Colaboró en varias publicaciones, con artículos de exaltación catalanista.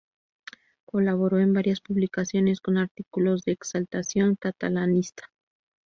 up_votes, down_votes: 2, 0